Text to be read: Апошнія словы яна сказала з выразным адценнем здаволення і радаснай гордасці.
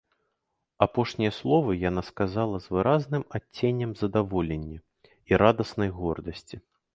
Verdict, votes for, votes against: rejected, 1, 2